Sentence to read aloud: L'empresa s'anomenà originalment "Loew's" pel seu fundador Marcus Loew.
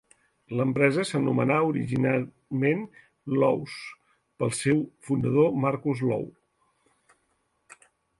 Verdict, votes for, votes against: accepted, 2, 0